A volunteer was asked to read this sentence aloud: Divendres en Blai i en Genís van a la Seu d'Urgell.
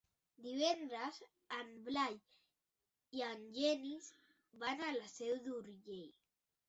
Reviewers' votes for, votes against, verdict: 3, 0, accepted